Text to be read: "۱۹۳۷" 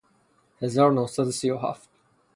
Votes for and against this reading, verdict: 0, 2, rejected